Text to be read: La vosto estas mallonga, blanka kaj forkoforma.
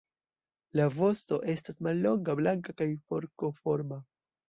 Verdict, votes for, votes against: accepted, 2, 0